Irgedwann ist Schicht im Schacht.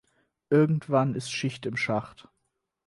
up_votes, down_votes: 4, 0